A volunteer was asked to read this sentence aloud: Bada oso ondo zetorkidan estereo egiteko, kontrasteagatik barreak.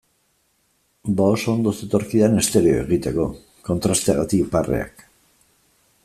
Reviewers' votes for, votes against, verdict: 0, 2, rejected